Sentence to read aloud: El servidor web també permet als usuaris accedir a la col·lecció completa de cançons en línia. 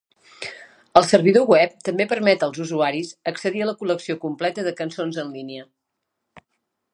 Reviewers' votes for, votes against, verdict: 4, 0, accepted